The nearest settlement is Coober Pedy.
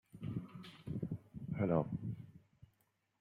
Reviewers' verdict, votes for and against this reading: rejected, 0, 2